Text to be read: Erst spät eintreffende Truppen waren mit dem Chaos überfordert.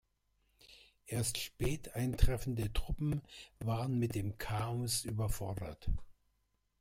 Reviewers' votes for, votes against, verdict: 1, 2, rejected